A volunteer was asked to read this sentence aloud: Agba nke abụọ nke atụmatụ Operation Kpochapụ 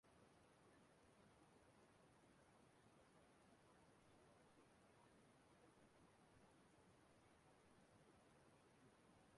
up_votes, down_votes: 0, 2